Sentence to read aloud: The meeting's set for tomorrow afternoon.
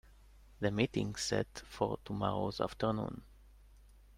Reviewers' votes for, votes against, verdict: 1, 2, rejected